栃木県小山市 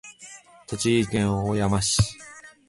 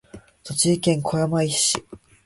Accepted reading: first